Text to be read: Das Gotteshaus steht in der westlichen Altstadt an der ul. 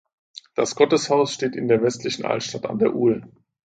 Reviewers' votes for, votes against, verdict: 2, 0, accepted